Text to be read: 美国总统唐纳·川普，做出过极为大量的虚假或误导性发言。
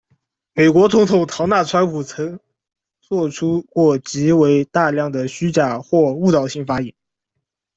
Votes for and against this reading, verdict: 0, 2, rejected